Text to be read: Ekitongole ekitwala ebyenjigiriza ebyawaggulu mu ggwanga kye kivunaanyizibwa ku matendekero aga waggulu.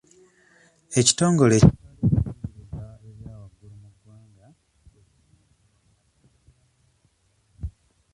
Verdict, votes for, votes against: rejected, 0, 2